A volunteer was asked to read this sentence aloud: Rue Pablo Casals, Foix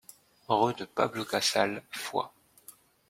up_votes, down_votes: 0, 2